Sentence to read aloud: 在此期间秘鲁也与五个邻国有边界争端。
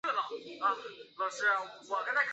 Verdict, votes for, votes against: rejected, 0, 3